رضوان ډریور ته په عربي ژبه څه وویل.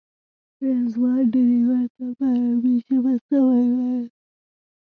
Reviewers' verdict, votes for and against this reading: rejected, 1, 2